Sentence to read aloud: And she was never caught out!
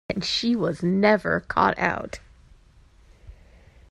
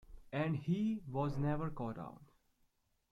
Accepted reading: first